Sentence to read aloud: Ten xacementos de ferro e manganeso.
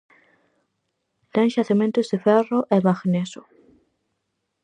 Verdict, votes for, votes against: rejected, 0, 4